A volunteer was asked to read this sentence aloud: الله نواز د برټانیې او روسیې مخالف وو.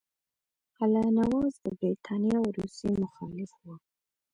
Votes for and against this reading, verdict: 2, 0, accepted